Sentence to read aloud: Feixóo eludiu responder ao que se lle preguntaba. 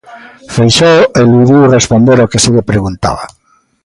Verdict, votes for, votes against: accepted, 2, 0